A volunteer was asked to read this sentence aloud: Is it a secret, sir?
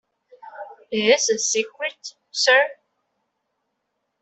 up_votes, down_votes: 1, 2